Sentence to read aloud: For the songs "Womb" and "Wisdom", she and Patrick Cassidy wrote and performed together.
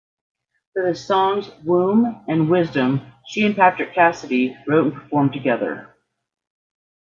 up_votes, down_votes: 2, 0